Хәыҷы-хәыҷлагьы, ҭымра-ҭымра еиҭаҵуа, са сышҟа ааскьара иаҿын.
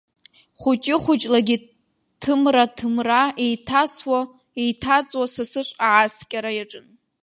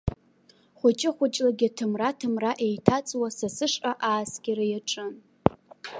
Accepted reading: second